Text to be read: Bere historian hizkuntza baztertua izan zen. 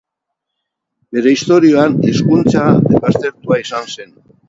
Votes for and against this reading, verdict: 4, 4, rejected